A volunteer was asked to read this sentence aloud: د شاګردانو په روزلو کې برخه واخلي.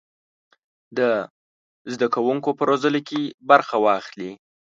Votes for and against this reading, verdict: 1, 2, rejected